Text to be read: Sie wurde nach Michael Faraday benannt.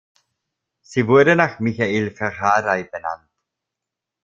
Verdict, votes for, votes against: rejected, 0, 2